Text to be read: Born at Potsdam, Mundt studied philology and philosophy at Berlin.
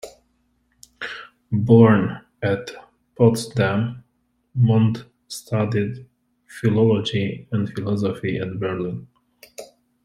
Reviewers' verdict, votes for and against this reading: accepted, 2, 0